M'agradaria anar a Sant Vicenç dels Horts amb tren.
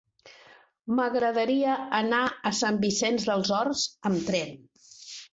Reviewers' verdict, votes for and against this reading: accepted, 4, 0